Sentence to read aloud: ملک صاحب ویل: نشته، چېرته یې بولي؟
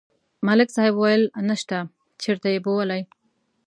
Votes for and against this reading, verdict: 2, 0, accepted